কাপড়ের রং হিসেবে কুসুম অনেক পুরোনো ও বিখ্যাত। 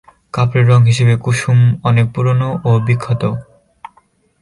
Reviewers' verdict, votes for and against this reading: rejected, 2, 6